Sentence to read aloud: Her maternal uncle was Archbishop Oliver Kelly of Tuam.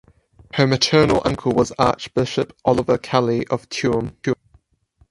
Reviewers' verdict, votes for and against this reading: rejected, 0, 4